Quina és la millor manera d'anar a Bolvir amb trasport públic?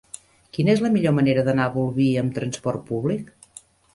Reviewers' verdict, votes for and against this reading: accepted, 3, 0